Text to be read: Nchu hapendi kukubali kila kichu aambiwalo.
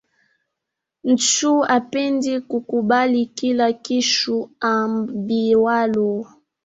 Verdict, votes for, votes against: rejected, 1, 2